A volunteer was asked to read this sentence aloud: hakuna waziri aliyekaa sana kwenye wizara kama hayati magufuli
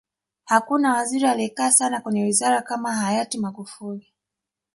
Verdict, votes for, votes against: rejected, 1, 2